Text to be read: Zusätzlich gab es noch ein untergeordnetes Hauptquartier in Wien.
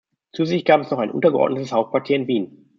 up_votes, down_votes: 1, 2